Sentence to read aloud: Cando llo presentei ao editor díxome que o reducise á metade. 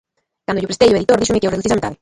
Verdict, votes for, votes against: rejected, 0, 2